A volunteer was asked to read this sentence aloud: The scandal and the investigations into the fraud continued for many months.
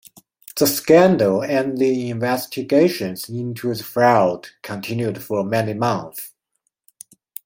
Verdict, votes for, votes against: rejected, 0, 2